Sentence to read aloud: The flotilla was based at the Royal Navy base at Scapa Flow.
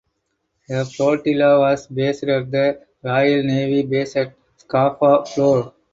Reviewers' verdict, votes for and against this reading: rejected, 2, 4